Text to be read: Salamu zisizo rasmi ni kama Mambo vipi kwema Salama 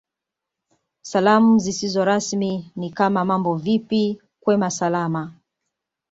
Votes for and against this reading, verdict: 2, 0, accepted